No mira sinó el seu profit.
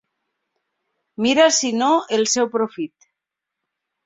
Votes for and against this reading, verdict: 1, 2, rejected